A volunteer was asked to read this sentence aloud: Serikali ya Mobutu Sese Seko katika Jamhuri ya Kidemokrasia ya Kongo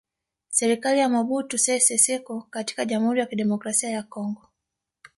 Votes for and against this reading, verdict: 3, 2, accepted